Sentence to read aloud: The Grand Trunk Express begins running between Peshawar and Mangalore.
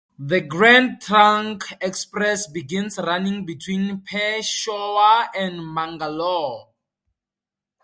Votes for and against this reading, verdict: 2, 4, rejected